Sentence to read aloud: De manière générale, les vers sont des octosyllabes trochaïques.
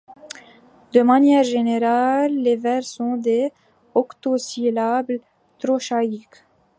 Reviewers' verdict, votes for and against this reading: accepted, 2, 1